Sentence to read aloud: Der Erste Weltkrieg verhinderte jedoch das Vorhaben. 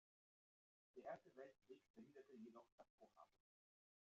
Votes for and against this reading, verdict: 0, 2, rejected